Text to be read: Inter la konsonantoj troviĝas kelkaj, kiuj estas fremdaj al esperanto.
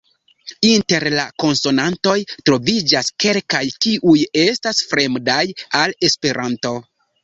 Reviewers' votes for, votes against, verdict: 0, 2, rejected